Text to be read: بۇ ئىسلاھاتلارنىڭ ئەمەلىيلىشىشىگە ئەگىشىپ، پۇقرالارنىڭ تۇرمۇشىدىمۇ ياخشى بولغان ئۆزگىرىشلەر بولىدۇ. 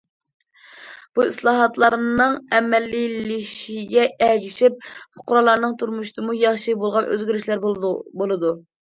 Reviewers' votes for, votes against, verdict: 0, 2, rejected